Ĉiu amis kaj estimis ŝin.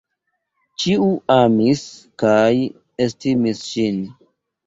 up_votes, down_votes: 1, 2